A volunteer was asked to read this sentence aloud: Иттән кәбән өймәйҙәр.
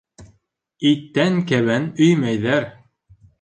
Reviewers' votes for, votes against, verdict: 3, 0, accepted